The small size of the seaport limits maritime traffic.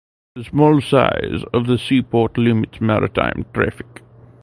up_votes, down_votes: 2, 0